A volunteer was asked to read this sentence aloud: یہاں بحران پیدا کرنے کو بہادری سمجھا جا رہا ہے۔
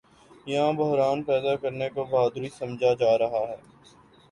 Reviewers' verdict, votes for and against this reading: accepted, 5, 0